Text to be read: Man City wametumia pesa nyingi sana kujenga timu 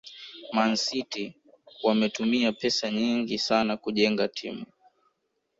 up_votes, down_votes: 1, 2